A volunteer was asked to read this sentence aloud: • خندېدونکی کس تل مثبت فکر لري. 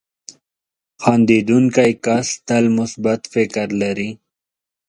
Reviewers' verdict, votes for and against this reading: rejected, 0, 2